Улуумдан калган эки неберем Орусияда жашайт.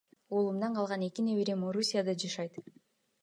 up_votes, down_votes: 1, 2